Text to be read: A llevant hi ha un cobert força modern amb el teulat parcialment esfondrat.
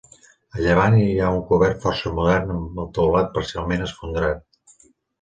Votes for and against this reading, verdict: 1, 2, rejected